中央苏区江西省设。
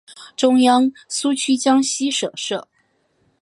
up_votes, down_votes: 3, 0